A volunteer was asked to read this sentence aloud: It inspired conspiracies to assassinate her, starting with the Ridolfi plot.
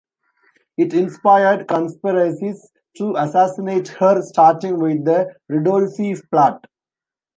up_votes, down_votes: 0, 2